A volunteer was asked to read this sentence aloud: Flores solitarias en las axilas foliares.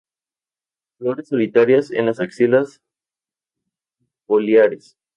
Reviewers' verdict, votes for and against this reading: accepted, 2, 0